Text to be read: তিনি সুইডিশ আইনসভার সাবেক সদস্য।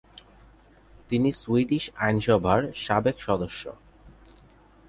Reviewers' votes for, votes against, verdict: 2, 0, accepted